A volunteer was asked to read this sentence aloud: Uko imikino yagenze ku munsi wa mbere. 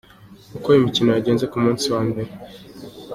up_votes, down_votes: 2, 0